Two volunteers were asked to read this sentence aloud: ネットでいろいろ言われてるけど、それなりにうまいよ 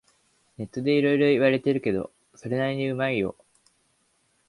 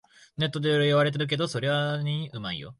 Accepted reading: first